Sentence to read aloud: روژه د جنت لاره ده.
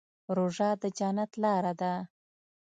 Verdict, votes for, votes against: accepted, 2, 0